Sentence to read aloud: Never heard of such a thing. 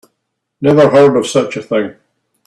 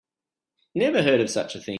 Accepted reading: first